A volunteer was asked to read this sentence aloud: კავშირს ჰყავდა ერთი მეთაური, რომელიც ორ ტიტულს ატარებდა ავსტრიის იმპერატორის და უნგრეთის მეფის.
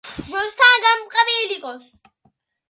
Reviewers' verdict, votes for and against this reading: rejected, 1, 2